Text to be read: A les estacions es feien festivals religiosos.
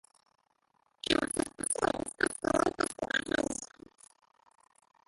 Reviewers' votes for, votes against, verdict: 0, 2, rejected